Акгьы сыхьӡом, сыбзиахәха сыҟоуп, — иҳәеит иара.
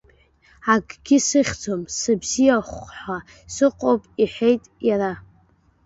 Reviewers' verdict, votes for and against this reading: rejected, 0, 2